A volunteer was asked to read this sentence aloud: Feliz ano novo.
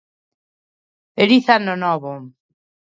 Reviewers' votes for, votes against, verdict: 2, 1, accepted